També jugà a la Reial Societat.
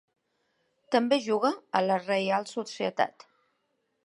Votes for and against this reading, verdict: 1, 2, rejected